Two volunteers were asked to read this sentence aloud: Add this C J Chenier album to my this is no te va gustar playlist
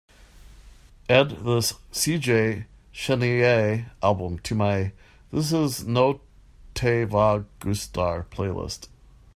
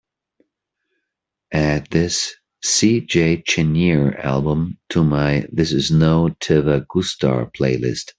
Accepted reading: second